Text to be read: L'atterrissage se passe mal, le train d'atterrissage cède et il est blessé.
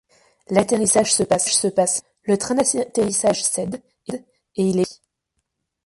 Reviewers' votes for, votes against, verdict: 0, 2, rejected